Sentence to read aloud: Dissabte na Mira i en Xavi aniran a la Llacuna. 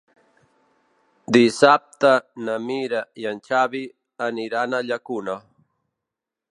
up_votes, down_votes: 0, 2